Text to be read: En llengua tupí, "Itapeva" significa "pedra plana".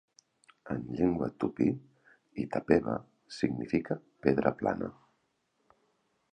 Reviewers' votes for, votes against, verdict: 2, 0, accepted